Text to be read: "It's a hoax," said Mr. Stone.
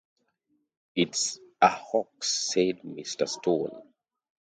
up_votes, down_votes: 2, 0